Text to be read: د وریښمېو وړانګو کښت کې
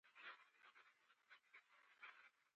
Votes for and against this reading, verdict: 0, 5, rejected